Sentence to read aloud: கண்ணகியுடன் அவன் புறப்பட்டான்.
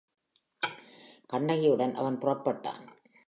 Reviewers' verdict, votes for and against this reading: accepted, 2, 1